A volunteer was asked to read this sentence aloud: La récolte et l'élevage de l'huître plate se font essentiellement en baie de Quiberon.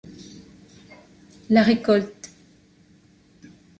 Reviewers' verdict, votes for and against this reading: rejected, 0, 2